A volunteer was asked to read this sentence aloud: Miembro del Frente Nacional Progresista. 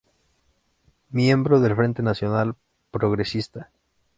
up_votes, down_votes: 2, 0